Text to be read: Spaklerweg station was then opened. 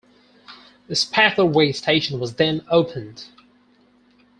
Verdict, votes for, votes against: rejected, 2, 4